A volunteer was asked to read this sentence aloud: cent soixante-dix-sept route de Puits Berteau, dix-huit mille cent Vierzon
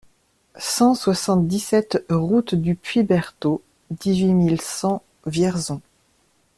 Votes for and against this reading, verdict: 2, 0, accepted